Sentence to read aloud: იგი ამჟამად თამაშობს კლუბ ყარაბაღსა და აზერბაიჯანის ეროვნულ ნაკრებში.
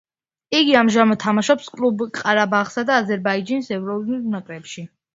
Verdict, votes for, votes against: rejected, 1, 2